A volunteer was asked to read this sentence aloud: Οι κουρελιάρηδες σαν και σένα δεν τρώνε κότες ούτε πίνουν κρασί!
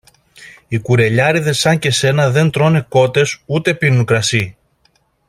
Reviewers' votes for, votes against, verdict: 2, 0, accepted